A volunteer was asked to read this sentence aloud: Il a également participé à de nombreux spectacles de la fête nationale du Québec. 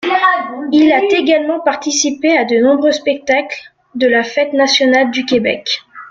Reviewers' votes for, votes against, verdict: 1, 2, rejected